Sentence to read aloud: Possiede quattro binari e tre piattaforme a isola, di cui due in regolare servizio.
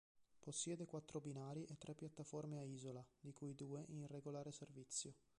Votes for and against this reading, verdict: 1, 2, rejected